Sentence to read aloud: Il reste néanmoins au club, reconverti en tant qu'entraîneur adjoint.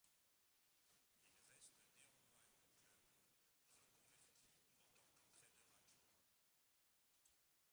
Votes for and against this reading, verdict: 0, 2, rejected